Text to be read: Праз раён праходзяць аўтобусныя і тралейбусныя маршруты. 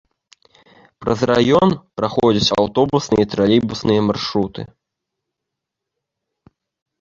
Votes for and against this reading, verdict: 2, 0, accepted